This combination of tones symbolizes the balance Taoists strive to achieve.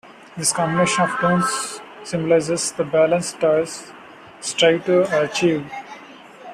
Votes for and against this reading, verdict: 1, 2, rejected